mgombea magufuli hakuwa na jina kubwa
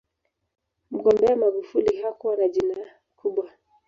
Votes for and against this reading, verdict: 0, 2, rejected